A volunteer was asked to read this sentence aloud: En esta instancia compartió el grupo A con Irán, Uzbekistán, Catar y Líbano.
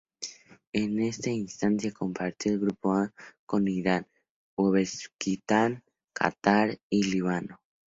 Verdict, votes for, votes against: rejected, 0, 2